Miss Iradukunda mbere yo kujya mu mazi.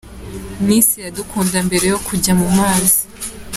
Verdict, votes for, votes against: accepted, 2, 0